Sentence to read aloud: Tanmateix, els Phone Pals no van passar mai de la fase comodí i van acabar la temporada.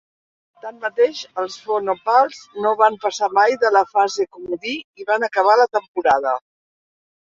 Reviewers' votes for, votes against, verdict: 0, 2, rejected